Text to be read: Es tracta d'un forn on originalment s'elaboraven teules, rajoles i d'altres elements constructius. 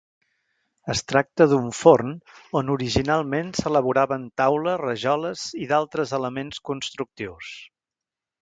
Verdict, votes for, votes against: rejected, 0, 2